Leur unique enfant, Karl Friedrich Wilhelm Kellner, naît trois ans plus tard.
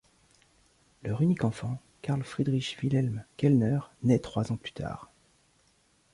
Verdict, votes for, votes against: rejected, 1, 2